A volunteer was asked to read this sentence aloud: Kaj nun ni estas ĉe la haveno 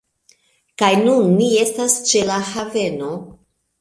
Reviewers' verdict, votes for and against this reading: accepted, 2, 1